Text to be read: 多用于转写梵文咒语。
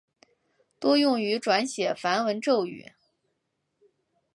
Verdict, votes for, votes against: accepted, 3, 0